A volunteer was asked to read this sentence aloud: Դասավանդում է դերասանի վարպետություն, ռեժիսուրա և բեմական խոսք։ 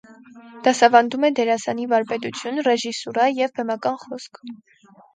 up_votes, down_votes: 4, 2